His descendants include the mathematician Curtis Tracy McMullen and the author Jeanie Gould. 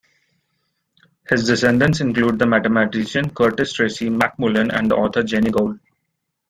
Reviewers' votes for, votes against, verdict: 2, 1, accepted